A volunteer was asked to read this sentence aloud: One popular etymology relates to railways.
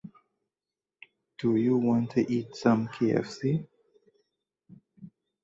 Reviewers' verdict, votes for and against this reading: rejected, 0, 2